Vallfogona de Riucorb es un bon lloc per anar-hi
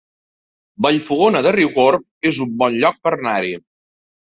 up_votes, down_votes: 4, 0